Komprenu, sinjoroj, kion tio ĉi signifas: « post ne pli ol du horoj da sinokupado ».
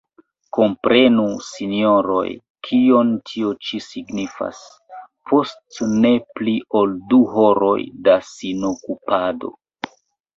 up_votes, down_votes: 1, 2